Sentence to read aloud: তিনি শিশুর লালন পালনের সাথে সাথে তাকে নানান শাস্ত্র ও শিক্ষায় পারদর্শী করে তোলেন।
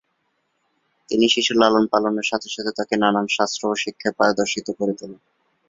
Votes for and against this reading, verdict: 0, 2, rejected